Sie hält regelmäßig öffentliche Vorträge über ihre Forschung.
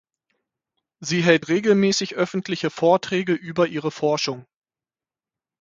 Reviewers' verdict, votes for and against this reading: accepted, 6, 0